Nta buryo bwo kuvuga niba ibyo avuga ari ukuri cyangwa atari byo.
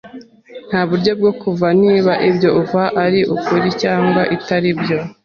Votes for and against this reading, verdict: 1, 2, rejected